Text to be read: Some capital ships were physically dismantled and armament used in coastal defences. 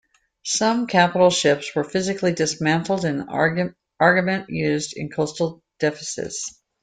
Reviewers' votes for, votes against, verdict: 1, 2, rejected